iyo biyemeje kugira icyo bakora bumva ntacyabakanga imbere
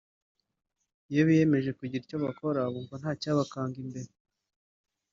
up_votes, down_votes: 0, 2